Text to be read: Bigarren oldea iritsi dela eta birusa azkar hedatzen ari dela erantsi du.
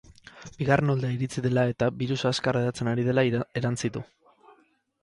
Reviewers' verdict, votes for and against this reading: rejected, 0, 4